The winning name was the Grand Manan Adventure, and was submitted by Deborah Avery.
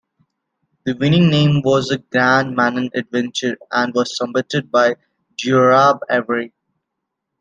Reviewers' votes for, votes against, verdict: 0, 2, rejected